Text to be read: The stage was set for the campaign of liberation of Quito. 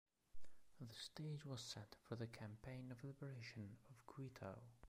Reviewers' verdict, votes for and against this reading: rejected, 0, 2